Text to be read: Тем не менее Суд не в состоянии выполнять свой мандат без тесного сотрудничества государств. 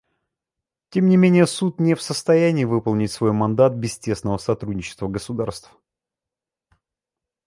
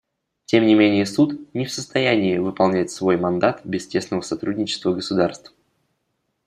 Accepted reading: second